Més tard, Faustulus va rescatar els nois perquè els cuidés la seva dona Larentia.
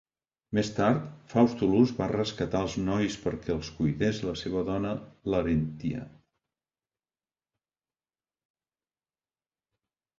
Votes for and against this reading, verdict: 2, 0, accepted